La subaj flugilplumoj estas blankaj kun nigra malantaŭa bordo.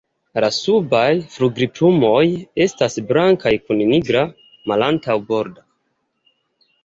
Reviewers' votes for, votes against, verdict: 0, 2, rejected